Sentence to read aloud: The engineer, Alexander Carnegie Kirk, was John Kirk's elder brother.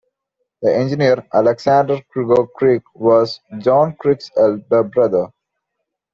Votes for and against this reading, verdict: 0, 2, rejected